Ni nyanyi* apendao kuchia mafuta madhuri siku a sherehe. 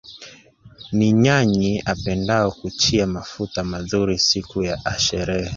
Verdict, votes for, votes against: accepted, 3, 1